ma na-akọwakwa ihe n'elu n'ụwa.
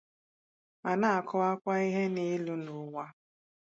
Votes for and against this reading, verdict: 2, 0, accepted